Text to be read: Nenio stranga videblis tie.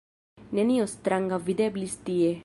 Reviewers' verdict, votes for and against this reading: accepted, 2, 0